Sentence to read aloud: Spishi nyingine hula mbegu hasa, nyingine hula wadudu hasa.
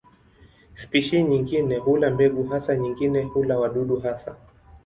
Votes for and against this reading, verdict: 2, 0, accepted